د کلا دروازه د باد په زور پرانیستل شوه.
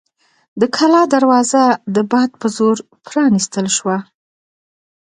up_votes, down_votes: 2, 1